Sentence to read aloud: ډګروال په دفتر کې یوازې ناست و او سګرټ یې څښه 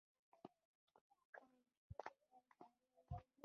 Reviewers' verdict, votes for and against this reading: rejected, 0, 2